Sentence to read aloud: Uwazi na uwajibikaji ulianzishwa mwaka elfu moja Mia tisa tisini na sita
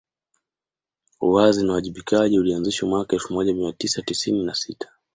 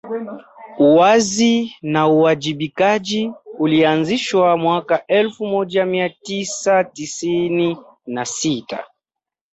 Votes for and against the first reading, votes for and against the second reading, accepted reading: 2, 0, 1, 2, first